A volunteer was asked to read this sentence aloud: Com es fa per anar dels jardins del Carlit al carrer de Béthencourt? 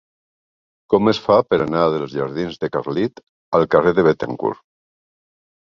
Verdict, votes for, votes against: rejected, 0, 2